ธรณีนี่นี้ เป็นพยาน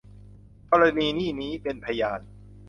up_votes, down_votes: 2, 0